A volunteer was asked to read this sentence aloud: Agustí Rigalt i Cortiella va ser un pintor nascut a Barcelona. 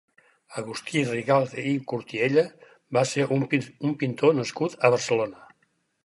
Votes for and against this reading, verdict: 2, 4, rejected